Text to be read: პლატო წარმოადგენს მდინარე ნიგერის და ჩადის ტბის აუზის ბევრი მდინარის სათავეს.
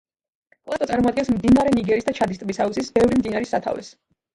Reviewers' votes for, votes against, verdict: 2, 0, accepted